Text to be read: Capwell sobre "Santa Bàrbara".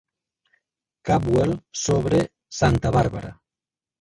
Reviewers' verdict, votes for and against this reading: rejected, 1, 3